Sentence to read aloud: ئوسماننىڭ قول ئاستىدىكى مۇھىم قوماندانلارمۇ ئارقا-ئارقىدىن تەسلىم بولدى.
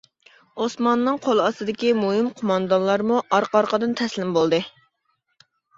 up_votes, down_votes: 2, 0